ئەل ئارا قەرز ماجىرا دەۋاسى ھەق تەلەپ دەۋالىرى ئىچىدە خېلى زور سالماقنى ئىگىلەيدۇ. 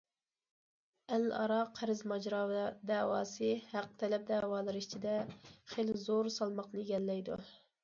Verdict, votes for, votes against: rejected, 0, 2